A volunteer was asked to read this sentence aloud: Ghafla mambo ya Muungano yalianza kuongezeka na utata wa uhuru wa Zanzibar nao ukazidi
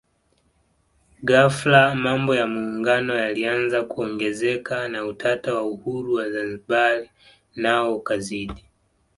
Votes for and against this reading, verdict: 2, 0, accepted